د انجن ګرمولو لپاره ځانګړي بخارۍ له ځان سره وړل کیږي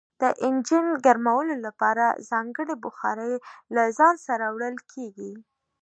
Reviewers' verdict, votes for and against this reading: rejected, 0, 2